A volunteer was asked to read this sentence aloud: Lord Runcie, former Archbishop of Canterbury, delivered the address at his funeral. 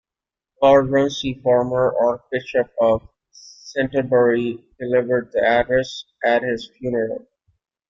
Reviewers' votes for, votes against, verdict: 1, 2, rejected